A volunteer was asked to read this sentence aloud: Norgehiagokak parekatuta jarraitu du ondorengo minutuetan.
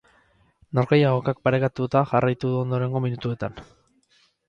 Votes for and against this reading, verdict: 2, 2, rejected